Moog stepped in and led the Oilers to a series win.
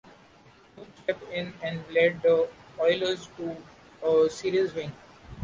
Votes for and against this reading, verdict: 0, 2, rejected